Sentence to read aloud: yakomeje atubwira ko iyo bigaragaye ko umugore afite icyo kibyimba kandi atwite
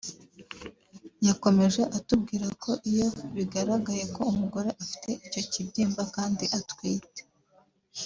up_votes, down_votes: 2, 0